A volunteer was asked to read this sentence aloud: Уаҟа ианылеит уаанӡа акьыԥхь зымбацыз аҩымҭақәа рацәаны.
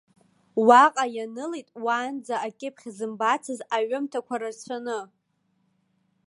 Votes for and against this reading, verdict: 2, 0, accepted